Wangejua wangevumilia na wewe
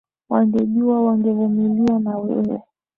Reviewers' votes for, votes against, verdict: 2, 0, accepted